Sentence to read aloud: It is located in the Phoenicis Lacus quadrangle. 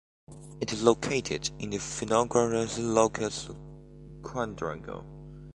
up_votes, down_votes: 1, 2